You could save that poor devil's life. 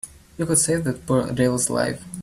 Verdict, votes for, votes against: accepted, 2, 1